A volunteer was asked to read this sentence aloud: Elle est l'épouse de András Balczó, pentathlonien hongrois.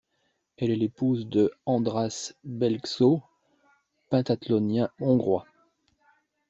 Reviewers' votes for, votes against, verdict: 1, 2, rejected